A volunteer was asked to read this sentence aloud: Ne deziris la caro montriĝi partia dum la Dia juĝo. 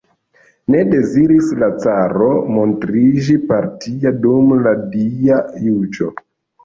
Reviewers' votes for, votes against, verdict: 2, 0, accepted